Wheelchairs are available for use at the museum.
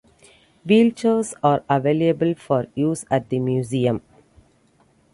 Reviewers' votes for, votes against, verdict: 2, 0, accepted